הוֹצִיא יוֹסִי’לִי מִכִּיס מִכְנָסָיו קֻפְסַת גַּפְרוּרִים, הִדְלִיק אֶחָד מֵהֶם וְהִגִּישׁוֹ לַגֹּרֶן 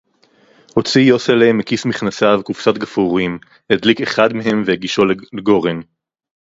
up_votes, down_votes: 0, 4